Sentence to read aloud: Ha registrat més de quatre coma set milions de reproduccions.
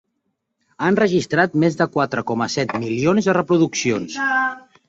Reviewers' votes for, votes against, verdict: 0, 2, rejected